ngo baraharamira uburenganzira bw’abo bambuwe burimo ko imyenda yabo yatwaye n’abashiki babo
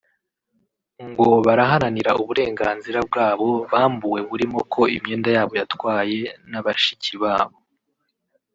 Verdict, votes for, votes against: rejected, 1, 2